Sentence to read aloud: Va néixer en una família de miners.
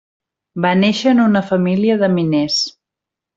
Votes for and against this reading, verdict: 3, 0, accepted